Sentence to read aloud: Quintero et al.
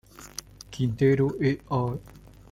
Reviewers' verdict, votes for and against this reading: accepted, 2, 0